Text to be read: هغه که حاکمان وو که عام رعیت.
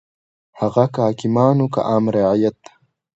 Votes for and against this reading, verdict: 2, 0, accepted